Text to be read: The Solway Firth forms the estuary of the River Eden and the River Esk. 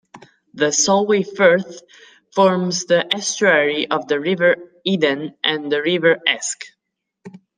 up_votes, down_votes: 2, 1